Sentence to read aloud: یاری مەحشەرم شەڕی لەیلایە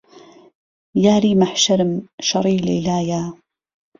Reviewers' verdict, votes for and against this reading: accepted, 2, 0